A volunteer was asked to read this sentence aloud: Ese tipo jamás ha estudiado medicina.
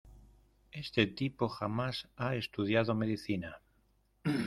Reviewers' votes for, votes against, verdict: 1, 2, rejected